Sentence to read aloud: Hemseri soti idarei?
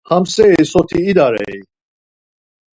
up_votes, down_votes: 2, 4